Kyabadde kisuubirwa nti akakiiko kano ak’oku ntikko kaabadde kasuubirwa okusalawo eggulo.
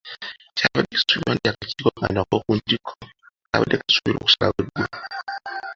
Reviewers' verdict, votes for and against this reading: accepted, 2, 1